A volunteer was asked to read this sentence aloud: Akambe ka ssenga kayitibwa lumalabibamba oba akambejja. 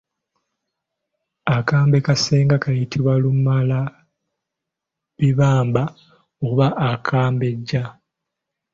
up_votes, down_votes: 2, 1